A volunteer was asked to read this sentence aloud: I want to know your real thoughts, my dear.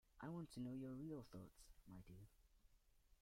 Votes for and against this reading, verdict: 2, 0, accepted